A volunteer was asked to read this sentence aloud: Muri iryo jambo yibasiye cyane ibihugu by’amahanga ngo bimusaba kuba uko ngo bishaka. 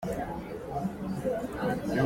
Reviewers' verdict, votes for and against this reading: rejected, 0, 2